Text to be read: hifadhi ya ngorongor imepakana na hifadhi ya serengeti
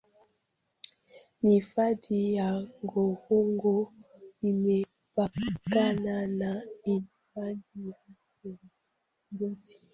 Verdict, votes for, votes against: rejected, 0, 2